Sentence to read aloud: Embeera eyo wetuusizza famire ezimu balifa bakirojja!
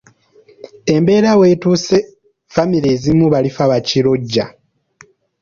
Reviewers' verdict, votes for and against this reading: accepted, 3, 2